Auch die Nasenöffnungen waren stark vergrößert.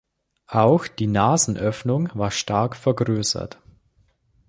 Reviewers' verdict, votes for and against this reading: rejected, 0, 2